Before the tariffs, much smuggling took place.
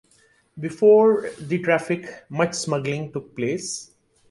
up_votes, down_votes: 0, 2